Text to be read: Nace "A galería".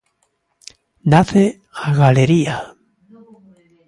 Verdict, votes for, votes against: accepted, 2, 1